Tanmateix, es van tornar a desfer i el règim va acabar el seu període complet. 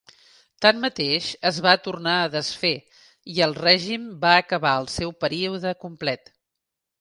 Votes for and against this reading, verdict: 1, 2, rejected